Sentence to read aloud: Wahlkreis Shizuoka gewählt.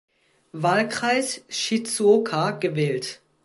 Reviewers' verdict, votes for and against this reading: accepted, 2, 0